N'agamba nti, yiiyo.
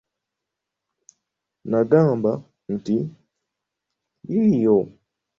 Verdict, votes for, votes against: rejected, 1, 2